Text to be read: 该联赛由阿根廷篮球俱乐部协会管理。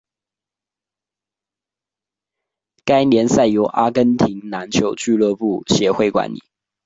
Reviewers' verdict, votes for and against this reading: accepted, 2, 0